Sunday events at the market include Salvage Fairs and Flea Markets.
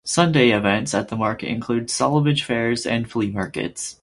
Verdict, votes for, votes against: rejected, 2, 4